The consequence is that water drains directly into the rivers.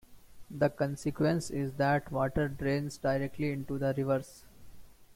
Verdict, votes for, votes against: accepted, 2, 0